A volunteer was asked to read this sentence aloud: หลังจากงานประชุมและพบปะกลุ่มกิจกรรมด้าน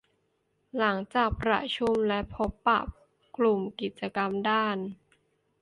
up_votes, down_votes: 1, 2